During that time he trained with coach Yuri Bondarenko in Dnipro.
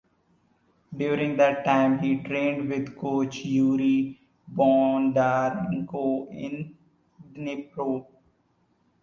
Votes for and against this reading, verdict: 1, 2, rejected